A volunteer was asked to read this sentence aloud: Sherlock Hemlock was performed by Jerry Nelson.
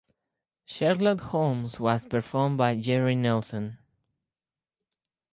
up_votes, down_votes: 4, 2